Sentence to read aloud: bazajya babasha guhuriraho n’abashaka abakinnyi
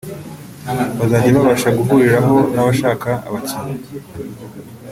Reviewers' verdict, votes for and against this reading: accepted, 2, 0